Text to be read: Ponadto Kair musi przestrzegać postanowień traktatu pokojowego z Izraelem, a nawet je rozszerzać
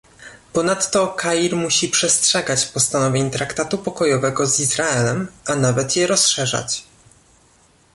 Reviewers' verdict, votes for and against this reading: accepted, 2, 0